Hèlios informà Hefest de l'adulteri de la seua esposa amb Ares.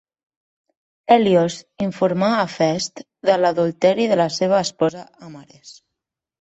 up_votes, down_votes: 2, 0